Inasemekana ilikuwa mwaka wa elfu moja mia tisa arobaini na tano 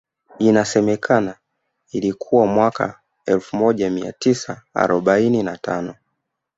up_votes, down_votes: 1, 2